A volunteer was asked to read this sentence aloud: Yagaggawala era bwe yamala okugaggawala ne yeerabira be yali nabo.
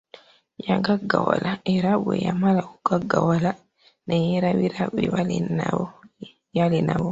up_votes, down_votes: 1, 2